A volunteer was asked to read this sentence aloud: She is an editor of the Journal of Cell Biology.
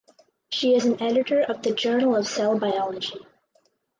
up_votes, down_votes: 4, 0